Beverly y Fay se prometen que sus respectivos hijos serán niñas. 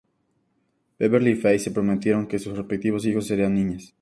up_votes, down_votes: 0, 2